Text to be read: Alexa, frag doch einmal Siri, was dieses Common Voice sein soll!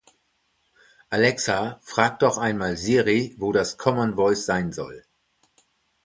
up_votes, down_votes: 0, 2